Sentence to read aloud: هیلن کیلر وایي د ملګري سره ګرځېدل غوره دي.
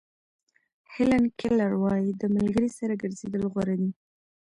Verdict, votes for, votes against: rejected, 0, 2